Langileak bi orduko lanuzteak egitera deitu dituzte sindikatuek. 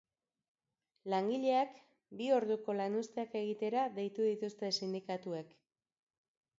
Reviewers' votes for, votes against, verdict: 2, 0, accepted